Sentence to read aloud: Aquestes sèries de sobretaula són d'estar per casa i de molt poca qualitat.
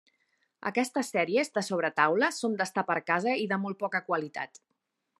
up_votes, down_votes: 4, 0